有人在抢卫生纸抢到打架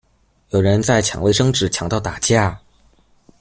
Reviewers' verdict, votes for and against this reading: accepted, 2, 0